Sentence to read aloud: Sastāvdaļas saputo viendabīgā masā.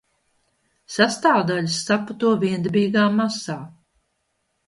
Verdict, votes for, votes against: accepted, 2, 0